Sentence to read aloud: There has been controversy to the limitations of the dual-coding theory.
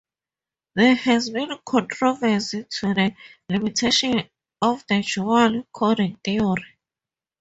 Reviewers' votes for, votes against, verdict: 0, 2, rejected